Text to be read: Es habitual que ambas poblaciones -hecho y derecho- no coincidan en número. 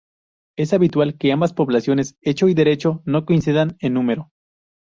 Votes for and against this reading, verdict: 4, 0, accepted